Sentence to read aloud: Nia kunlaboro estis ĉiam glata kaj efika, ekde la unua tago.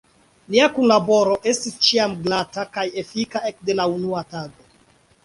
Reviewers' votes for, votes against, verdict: 2, 0, accepted